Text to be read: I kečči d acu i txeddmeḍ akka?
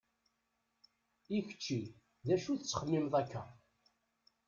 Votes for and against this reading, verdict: 1, 2, rejected